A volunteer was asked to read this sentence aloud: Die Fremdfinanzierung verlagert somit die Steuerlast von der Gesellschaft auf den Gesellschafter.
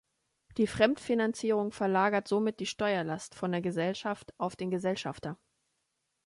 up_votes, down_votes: 2, 0